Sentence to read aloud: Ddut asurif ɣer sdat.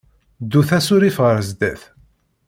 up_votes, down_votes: 2, 0